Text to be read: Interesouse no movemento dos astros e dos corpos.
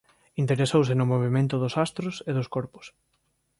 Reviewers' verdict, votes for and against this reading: accepted, 3, 0